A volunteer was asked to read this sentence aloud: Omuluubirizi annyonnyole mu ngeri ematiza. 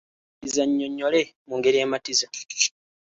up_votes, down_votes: 1, 2